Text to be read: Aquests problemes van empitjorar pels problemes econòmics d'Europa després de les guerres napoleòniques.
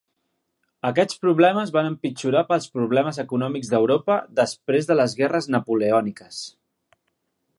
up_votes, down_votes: 2, 0